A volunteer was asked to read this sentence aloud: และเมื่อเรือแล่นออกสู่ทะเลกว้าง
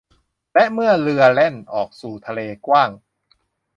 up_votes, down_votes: 2, 0